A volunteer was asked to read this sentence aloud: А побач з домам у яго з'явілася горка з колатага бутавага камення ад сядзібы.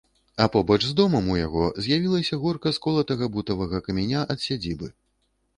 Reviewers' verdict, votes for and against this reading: rejected, 1, 2